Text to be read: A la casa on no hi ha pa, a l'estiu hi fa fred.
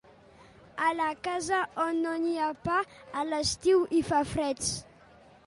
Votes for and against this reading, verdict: 0, 3, rejected